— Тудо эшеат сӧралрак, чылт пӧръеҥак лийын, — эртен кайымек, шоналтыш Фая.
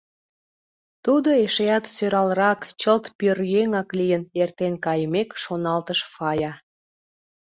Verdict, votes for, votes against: accepted, 2, 0